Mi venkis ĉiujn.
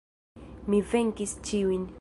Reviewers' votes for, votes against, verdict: 1, 2, rejected